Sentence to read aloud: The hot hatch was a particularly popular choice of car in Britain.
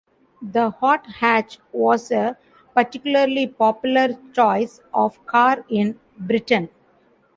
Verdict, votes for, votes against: accepted, 2, 0